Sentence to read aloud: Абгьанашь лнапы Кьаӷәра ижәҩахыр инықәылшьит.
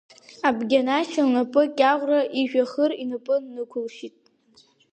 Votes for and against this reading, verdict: 2, 0, accepted